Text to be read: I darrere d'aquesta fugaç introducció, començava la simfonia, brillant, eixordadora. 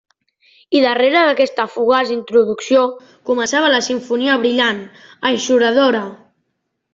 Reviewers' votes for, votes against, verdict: 0, 2, rejected